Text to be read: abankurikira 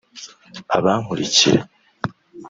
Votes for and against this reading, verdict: 2, 0, accepted